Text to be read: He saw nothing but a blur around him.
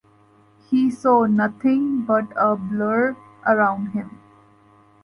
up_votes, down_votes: 2, 1